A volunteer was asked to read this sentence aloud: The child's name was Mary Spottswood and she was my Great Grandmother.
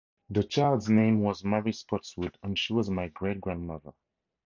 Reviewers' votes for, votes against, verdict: 4, 0, accepted